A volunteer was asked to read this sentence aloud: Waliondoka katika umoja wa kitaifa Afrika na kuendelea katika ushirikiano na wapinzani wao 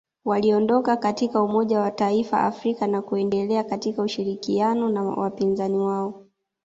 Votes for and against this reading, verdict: 1, 2, rejected